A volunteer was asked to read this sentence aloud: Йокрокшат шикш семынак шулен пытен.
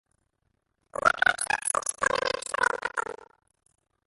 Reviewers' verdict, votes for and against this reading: rejected, 0, 2